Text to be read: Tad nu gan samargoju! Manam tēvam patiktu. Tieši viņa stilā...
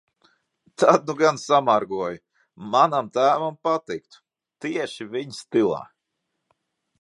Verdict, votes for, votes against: accepted, 2, 0